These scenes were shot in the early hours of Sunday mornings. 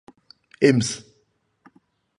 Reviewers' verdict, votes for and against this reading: rejected, 0, 2